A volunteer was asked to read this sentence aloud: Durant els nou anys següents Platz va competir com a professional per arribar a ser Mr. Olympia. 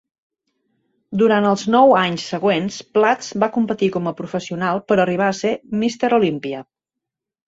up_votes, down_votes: 2, 0